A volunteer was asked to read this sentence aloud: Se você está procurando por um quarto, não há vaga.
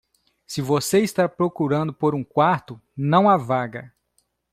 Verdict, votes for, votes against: accepted, 2, 0